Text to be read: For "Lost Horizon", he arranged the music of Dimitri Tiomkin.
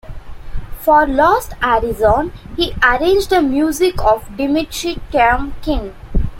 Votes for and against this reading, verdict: 2, 1, accepted